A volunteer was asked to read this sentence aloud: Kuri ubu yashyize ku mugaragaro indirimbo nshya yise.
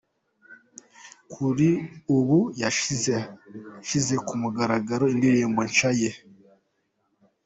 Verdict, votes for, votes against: rejected, 1, 2